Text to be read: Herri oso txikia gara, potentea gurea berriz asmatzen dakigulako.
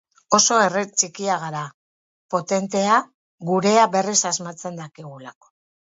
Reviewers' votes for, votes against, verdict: 0, 4, rejected